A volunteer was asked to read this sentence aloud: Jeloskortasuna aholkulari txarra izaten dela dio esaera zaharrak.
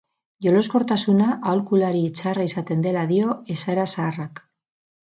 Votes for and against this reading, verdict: 4, 0, accepted